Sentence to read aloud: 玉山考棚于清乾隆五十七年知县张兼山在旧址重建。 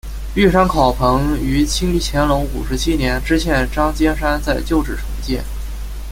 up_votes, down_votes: 2, 0